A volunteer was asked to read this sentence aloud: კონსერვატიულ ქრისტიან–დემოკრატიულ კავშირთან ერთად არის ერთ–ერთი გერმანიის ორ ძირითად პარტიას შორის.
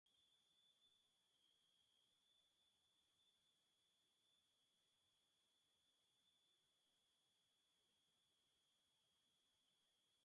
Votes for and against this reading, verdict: 0, 2, rejected